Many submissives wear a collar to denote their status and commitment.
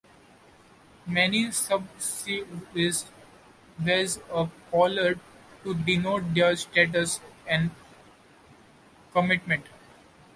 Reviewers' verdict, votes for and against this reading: rejected, 0, 2